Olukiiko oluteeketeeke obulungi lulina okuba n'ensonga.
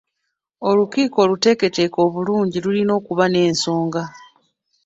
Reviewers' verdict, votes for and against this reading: rejected, 1, 2